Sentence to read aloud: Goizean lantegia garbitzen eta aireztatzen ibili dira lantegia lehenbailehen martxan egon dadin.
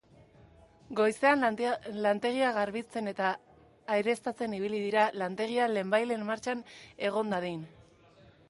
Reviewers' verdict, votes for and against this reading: rejected, 0, 2